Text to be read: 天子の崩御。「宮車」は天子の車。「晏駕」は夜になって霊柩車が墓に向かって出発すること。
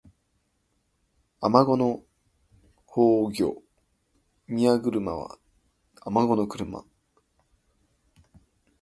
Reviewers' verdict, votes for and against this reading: rejected, 1, 2